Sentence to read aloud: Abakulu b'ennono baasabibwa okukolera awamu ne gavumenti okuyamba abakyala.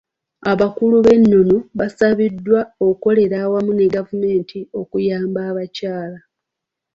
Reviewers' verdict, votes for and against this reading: rejected, 0, 2